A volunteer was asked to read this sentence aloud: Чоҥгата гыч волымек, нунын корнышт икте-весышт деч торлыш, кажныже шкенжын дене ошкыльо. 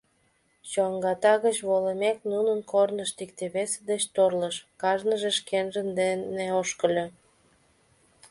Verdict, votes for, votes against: accepted, 2, 1